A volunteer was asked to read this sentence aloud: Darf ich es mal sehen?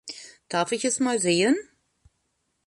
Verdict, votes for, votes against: accepted, 2, 0